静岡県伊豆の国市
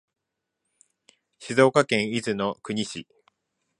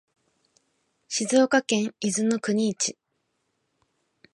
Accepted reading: first